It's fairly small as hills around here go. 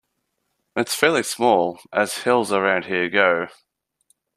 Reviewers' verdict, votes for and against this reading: accepted, 2, 0